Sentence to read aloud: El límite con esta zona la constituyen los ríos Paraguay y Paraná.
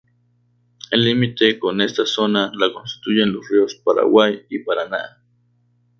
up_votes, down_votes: 2, 2